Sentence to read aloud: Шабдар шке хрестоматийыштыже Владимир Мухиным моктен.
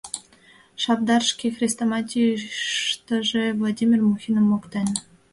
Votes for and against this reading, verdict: 2, 0, accepted